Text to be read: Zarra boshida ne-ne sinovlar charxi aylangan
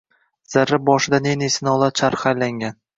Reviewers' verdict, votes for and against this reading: rejected, 1, 2